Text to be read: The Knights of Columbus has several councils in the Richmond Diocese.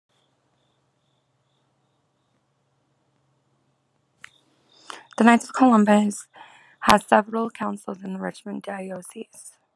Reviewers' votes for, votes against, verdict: 2, 1, accepted